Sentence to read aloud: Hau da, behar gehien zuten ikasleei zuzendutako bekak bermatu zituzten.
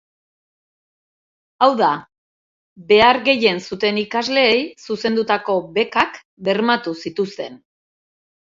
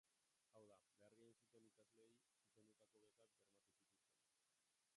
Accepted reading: first